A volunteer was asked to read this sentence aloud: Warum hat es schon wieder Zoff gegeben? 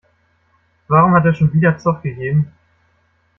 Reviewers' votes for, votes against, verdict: 0, 2, rejected